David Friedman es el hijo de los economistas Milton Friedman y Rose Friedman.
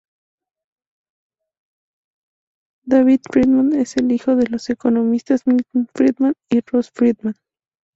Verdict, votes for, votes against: accepted, 2, 0